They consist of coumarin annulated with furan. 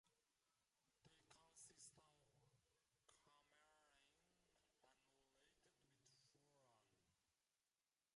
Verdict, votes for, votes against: rejected, 0, 2